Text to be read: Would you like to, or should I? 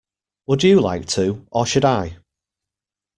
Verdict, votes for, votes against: accepted, 2, 0